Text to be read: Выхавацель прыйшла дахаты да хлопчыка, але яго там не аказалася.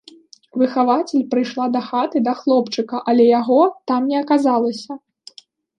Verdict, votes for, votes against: accepted, 2, 0